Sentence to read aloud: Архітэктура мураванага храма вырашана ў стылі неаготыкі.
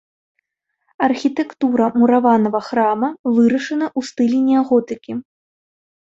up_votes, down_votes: 0, 2